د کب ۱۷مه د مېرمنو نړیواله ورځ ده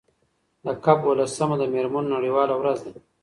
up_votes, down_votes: 0, 2